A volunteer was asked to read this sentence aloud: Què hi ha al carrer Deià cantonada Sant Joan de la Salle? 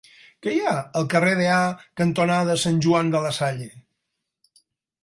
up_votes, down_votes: 2, 4